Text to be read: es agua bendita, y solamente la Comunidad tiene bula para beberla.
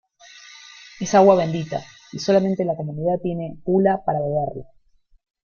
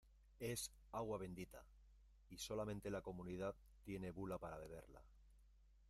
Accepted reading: first